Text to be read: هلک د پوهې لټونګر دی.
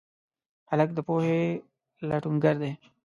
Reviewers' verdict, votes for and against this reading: accepted, 2, 0